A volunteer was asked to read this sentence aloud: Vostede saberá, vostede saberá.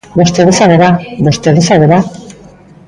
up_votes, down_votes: 1, 2